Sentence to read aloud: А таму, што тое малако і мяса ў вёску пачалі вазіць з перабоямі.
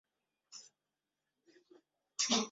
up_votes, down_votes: 0, 2